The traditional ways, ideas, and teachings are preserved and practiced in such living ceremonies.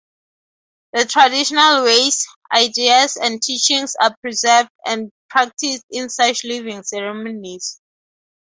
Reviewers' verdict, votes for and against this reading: accepted, 2, 0